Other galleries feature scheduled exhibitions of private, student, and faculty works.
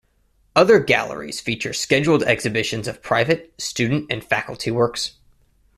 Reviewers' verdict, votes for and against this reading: accepted, 2, 0